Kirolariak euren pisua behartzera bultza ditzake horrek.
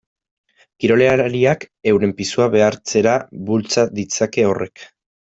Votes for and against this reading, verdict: 0, 2, rejected